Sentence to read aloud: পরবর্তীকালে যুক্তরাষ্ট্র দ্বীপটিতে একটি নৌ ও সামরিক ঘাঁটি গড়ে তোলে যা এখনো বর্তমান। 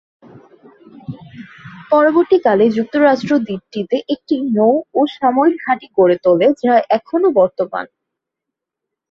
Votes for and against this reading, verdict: 0, 2, rejected